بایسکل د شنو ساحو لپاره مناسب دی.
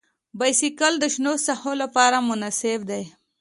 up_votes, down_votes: 2, 0